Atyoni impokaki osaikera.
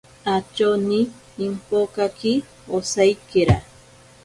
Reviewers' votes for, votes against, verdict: 2, 0, accepted